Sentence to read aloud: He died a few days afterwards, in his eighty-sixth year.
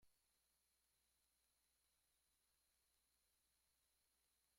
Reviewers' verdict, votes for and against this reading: rejected, 1, 2